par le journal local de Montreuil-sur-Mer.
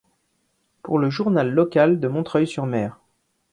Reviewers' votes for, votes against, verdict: 1, 2, rejected